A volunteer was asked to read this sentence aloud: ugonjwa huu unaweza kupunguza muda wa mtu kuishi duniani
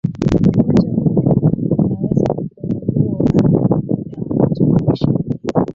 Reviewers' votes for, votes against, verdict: 0, 2, rejected